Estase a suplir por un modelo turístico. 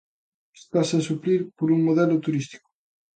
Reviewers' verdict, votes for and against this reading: accepted, 3, 0